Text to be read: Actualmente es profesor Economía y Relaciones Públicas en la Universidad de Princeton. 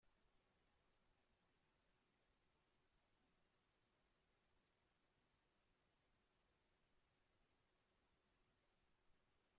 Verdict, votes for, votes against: rejected, 0, 2